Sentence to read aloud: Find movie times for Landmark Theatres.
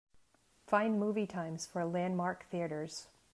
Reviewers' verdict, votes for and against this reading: accepted, 2, 1